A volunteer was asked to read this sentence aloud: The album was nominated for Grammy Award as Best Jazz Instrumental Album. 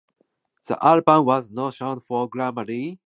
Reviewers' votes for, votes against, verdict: 0, 2, rejected